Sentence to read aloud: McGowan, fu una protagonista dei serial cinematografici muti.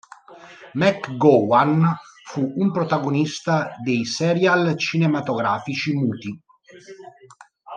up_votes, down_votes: 0, 2